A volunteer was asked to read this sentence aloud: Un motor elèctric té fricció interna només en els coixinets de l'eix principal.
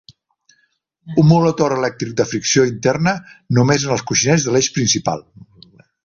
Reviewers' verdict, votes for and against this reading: rejected, 1, 2